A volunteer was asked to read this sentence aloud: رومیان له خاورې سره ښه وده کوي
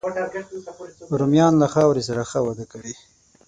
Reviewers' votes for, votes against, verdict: 9, 0, accepted